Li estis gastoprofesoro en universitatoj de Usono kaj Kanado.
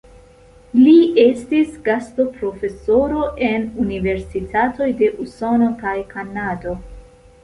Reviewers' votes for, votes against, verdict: 2, 0, accepted